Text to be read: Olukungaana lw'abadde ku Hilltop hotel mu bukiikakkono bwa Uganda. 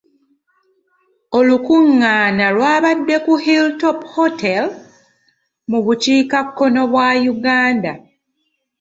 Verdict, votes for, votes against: accepted, 2, 0